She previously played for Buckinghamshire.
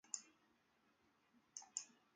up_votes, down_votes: 0, 2